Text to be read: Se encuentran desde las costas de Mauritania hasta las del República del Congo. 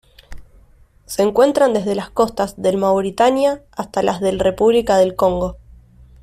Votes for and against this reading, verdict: 1, 2, rejected